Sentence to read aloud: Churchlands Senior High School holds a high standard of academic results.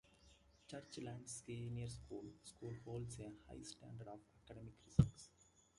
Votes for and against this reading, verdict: 0, 2, rejected